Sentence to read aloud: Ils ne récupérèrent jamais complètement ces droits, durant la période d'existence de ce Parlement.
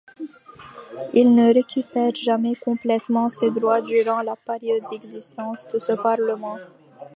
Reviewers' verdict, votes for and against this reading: rejected, 0, 2